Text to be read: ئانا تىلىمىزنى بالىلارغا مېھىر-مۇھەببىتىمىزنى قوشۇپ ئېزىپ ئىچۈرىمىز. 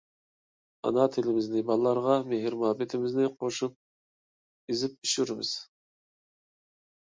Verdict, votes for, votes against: rejected, 0, 2